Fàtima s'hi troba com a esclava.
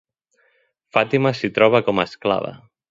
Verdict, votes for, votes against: accepted, 2, 0